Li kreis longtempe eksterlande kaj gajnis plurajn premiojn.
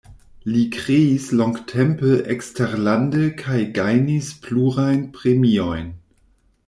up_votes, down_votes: 2, 0